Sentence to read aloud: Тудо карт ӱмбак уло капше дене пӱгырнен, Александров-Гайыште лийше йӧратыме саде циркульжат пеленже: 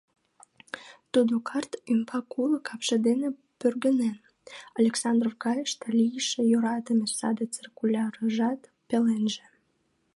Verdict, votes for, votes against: rejected, 1, 2